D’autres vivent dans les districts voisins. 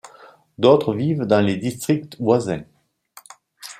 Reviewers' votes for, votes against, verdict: 2, 1, accepted